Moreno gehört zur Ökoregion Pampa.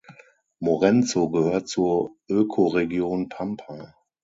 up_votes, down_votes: 0, 6